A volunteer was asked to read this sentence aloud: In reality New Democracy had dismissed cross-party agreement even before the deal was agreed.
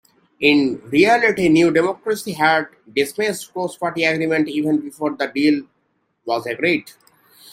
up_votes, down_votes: 2, 1